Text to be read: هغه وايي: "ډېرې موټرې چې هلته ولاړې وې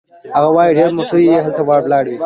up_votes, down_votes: 2, 1